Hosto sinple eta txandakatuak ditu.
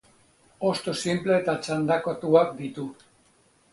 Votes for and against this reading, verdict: 2, 0, accepted